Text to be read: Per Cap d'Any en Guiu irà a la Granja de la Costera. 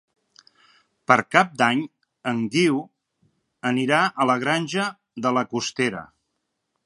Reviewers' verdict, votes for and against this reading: rejected, 1, 2